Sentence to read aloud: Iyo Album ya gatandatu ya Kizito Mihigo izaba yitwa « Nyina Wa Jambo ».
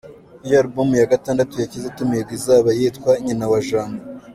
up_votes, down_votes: 1, 2